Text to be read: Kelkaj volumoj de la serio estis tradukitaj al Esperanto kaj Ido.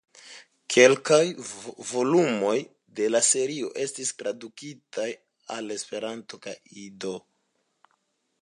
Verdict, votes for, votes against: accepted, 2, 0